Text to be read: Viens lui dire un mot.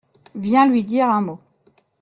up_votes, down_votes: 2, 0